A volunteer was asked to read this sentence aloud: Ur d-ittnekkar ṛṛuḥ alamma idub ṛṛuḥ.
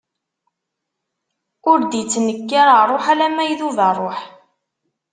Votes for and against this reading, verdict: 2, 0, accepted